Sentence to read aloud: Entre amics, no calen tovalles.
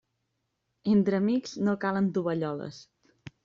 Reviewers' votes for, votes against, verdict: 0, 2, rejected